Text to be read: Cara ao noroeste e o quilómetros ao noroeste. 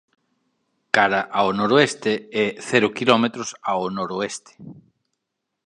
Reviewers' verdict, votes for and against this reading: rejected, 1, 2